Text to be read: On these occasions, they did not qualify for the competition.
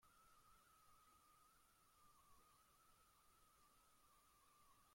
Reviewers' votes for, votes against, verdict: 0, 2, rejected